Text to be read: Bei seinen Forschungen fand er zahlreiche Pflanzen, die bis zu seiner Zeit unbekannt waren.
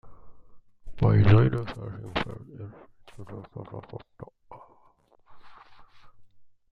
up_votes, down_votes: 0, 2